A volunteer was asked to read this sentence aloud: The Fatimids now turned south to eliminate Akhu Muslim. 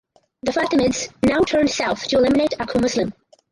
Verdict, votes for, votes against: rejected, 0, 2